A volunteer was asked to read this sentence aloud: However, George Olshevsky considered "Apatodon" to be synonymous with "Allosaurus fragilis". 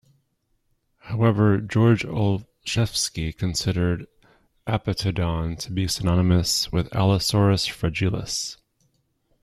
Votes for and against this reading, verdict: 0, 2, rejected